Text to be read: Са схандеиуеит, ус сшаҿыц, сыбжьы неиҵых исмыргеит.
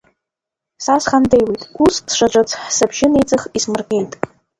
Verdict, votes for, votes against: rejected, 1, 2